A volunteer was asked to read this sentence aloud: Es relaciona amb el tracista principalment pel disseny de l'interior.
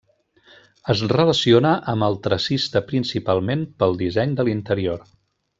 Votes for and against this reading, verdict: 1, 2, rejected